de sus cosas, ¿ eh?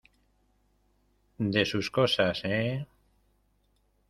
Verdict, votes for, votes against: accepted, 2, 0